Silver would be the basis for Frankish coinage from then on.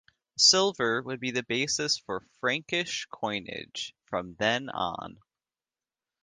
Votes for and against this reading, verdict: 2, 0, accepted